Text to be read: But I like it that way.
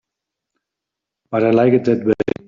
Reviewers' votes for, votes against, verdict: 1, 2, rejected